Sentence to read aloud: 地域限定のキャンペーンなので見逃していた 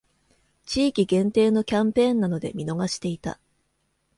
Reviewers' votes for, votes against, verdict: 2, 0, accepted